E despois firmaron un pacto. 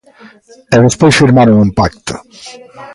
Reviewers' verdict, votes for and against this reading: rejected, 1, 2